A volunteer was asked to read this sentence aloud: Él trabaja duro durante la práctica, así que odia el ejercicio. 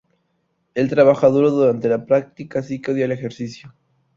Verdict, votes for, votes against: rejected, 0, 2